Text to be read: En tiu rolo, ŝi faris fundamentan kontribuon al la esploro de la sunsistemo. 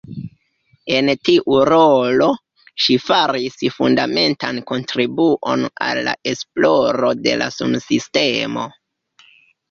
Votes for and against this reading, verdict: 2, 0, accepted